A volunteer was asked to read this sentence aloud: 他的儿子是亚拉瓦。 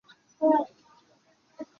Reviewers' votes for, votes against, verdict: 0, 2, rejected